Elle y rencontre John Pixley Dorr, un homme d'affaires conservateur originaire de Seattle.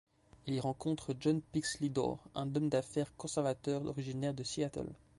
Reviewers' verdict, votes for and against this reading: rejected, 1, 2